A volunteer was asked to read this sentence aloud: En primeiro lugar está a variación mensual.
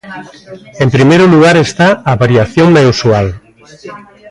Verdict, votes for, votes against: rejected, 1, 2